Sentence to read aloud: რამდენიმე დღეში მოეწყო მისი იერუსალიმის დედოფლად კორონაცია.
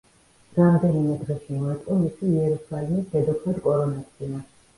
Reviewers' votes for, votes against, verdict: 1, 2, rejected